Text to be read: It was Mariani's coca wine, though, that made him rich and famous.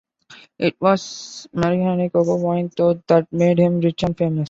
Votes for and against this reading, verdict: 0, 2, rejected